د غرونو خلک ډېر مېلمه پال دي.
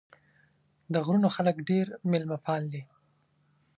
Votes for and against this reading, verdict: 2, 0, accepted